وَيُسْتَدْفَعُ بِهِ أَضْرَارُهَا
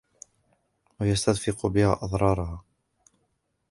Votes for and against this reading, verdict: 1, 2, rejected